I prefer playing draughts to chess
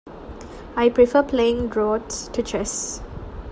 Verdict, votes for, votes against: accepted, 2, 0